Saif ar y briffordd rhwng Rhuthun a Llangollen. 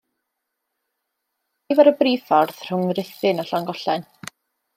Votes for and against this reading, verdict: 0, 2, rejected